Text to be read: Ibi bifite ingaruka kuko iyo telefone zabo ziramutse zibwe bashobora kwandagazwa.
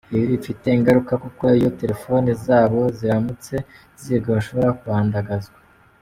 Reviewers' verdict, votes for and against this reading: rejected, 1, 2